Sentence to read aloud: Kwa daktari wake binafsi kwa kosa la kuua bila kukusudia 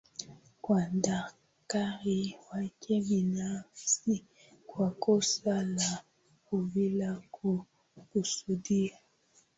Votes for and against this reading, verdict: 0, 2, rejected